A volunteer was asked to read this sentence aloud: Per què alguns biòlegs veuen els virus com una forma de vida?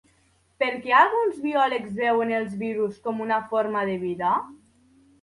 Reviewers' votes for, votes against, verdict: 2, 0, accepted